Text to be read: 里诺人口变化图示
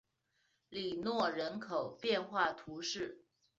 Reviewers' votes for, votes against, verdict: 3, 0, accepted